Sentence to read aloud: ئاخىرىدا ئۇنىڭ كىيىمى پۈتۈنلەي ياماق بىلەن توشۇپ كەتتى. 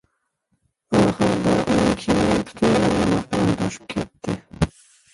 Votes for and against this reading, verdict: 0, 2, rejected